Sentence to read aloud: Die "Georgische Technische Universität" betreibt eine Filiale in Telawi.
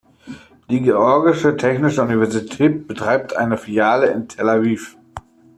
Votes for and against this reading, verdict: 1, 2, rejected